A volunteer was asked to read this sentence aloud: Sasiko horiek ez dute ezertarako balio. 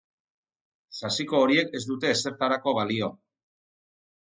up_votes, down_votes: 4, 0